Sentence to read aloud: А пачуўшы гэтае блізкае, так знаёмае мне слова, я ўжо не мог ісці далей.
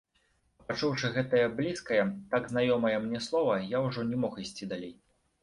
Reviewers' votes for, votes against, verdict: 0, 2, rejected